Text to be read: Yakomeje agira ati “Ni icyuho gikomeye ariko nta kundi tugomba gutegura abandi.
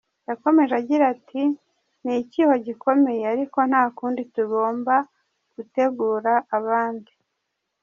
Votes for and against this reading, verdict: 0, 2, rejected